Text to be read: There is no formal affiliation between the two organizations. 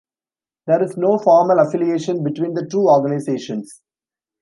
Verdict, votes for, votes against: accepted, 2, 0